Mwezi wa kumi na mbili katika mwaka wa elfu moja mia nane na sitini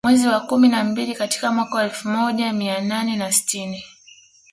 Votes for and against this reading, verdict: 2, 0, accepted